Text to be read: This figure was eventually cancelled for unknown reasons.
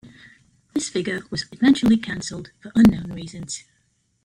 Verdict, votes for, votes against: rejected, 0, 2